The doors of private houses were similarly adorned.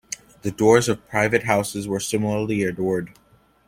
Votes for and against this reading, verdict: 1, 2, rejected